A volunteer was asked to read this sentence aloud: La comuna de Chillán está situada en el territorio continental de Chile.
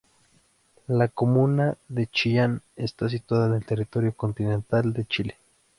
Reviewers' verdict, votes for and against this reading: accepted, 2, 0